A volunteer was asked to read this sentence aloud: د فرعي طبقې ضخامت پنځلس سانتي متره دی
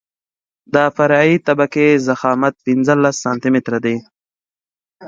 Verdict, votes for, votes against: accepted, 2, 0